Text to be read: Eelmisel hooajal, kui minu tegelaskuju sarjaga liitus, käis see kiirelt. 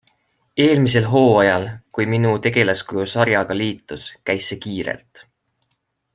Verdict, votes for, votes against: accepted, 2, 0